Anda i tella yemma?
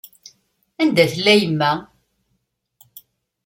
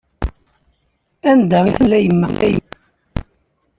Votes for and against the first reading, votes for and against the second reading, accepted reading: 2, 0, 0, 2, first